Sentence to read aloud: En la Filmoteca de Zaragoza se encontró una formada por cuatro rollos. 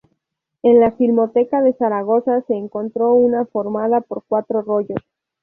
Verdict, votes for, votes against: accepted, 2, 0